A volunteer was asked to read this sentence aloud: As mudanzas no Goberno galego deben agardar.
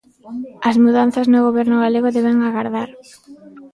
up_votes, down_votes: 0, 2